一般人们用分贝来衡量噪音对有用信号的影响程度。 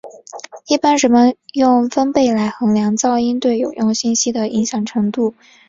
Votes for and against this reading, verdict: 1, 2, rejected